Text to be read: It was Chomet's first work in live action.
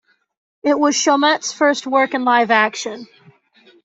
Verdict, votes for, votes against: accepted, 2, 0